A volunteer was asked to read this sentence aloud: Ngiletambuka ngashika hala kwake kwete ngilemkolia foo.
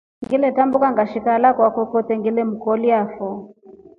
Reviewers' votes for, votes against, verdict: 2, 0, accepted